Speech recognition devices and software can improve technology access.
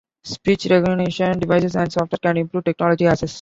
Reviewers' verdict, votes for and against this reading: accepted, 2, 0